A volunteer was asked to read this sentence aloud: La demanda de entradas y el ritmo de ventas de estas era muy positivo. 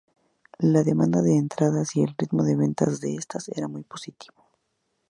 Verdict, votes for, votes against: rejected, 2, 2